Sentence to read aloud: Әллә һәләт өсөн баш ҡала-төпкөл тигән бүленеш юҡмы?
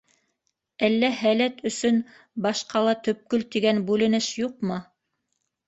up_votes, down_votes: 2, 0